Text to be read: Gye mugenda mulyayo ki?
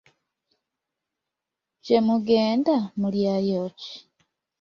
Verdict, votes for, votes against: accepted, 2, 0